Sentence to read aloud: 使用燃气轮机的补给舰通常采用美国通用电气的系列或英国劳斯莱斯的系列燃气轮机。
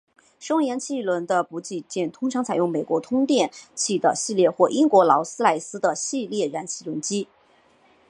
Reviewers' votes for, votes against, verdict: 2, 0, accepted